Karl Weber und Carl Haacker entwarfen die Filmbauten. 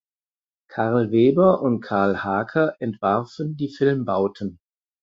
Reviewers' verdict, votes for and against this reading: accepted, 4, 0